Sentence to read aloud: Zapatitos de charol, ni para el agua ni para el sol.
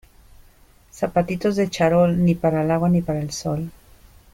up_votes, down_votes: 2, 0